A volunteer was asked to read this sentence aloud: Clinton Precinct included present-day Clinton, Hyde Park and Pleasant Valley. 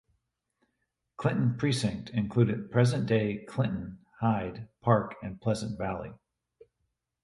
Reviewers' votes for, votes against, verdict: 2, 1, accepted